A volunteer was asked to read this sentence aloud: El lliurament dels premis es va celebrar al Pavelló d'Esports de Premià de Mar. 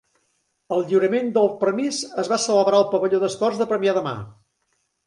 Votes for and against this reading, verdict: 2, 3, rejected